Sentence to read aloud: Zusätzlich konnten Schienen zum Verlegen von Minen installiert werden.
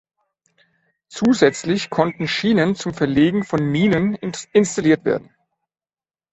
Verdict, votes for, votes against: rejected, 0, 2